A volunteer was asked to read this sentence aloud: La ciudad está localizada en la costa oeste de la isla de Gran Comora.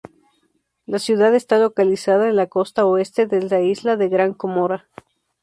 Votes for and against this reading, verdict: 4, 2, accepted